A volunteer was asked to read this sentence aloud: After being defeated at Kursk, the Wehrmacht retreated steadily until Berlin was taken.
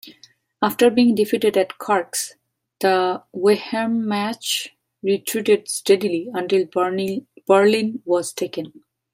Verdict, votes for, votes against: rejected, 0, 2